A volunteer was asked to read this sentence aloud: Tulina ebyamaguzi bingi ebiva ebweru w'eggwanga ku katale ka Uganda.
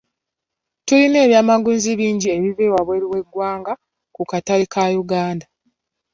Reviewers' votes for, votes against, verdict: 1, 2, rejected